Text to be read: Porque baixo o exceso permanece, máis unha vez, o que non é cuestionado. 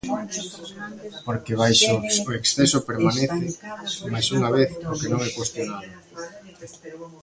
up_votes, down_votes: 1, 2